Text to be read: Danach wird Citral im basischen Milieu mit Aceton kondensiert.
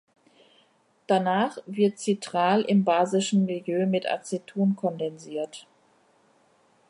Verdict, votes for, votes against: accepted, 2, 0